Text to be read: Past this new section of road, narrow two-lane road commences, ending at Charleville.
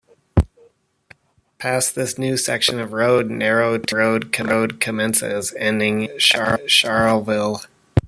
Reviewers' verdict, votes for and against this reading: rejected, 0, 2